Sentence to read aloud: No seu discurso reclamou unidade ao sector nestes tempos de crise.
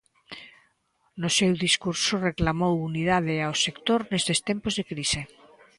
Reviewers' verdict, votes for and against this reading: accepted, 2, 0